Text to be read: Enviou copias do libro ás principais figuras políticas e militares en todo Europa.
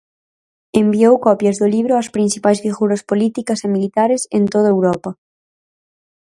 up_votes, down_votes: 4, 0